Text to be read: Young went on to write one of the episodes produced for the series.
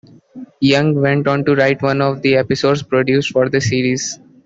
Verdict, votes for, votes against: rejected, 1, 2